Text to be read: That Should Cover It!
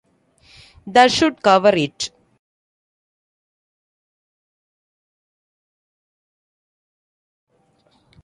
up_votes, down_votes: 2, 0